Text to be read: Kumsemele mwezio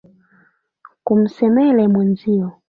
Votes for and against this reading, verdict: 2, 1, accepted